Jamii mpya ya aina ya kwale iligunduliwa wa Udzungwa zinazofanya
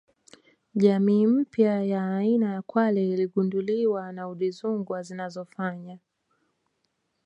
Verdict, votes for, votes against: accepted, 2, 1